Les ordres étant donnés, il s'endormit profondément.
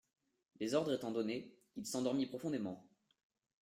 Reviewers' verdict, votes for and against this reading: accepted, 2, 0